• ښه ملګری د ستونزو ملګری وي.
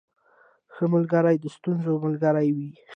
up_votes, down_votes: 2, 0